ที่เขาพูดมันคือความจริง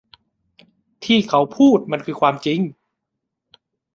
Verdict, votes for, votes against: accepted, 2, 0